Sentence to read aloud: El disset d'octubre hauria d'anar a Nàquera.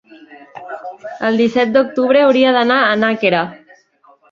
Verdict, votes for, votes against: accepted, 3, 1